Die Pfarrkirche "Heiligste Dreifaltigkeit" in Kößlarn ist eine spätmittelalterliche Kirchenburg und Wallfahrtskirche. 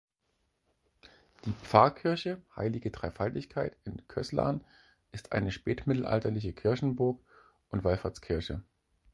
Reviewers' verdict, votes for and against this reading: rejected, 0, 4